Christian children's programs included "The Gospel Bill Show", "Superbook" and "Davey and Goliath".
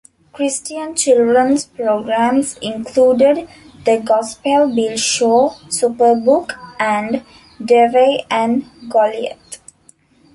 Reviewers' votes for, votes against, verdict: 1, 2, rejected